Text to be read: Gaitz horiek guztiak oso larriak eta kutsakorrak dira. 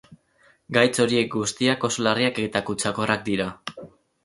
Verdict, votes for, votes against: accepted, 6, 0